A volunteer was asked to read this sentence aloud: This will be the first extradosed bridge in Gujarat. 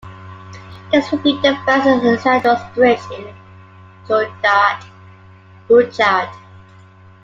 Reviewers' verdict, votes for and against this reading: rejected, 0, 2